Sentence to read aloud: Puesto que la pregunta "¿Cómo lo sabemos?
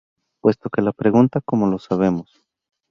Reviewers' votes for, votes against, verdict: 2, 0, accepted